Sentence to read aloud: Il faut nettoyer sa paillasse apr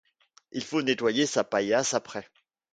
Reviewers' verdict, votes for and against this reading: accepted, 2, 0